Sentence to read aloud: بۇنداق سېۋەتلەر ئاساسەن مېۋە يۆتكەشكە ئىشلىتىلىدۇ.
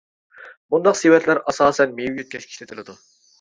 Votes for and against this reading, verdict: 2, 1, accepted